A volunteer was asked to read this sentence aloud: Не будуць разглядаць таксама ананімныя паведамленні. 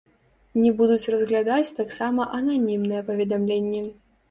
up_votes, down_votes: 0, 2